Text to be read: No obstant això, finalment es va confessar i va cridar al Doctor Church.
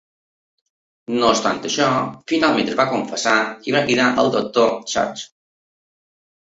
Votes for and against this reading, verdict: 2, 0, accepted